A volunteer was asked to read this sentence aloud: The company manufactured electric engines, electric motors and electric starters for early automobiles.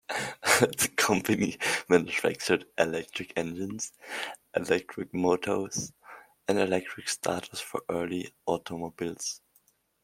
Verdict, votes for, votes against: rejected, 1, 2